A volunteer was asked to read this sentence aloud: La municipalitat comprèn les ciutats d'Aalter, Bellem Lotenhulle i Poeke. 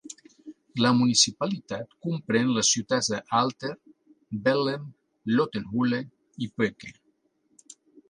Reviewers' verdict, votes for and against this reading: accepted, 3, 0